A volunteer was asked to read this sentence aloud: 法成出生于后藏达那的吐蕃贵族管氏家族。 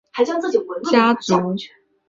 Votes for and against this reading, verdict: 0, 5, rejected